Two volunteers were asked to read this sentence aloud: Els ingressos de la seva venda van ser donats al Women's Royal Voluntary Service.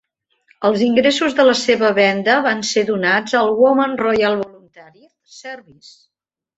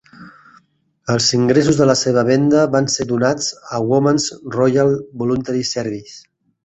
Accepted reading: second